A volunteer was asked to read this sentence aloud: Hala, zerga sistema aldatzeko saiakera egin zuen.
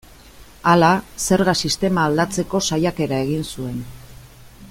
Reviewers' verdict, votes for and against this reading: accepted, 2, 0